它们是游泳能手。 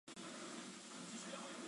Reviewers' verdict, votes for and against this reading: rejected, 1, 2